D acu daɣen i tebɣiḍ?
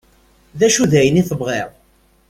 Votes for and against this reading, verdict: 0, 2, rejected